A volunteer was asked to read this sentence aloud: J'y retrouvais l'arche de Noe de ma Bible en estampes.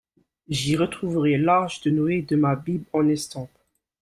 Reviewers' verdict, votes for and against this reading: rejected, 0, 2